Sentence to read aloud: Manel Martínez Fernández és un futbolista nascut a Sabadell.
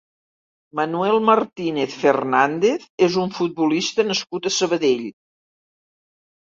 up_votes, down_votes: 2, 3